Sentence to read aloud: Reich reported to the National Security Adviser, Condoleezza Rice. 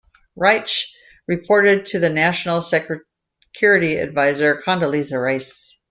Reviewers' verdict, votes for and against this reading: rejected, 0, 2